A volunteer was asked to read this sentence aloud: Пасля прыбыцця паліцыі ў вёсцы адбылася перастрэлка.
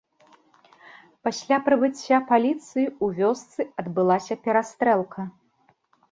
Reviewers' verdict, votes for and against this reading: accepted, 2, 0